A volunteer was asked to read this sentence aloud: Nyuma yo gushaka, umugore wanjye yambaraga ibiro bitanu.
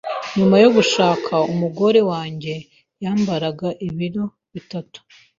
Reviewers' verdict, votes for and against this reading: rejected, 0, 2